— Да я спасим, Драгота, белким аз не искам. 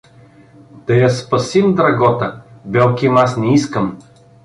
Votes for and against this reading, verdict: 2, 0, accepted